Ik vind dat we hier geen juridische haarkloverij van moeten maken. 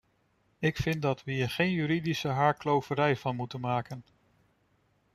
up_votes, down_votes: 2, 0